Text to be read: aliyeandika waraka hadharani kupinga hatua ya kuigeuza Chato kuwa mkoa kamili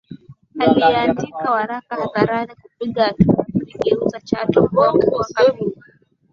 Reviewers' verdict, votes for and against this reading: accepted, 10, 2